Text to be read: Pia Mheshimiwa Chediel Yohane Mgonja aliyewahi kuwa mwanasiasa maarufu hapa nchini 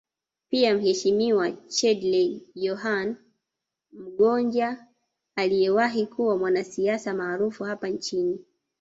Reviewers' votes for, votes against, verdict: 1, 2, rejected